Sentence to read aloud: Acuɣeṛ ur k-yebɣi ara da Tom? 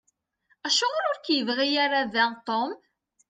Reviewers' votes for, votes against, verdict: 2, 0, accepted